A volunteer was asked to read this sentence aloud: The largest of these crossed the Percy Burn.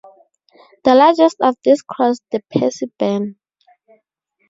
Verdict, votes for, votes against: accepted, 2, 0